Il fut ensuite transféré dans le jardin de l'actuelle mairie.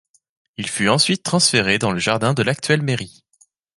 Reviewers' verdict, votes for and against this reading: accepted, 2, 0